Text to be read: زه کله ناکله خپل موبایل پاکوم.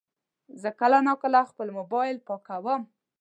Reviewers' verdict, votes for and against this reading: accepted, 2, 0